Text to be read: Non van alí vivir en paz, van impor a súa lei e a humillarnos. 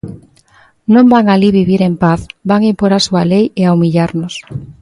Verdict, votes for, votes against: accepted, 2, 0